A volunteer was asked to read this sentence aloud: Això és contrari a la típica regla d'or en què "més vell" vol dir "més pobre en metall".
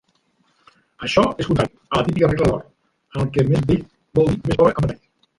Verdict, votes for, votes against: rejected, 0, 2